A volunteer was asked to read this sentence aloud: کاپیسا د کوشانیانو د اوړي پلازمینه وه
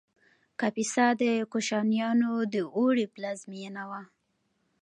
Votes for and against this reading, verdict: 2, 0, accepted